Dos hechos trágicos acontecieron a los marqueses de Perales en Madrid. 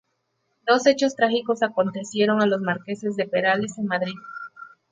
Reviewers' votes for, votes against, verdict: 2, 0, accepted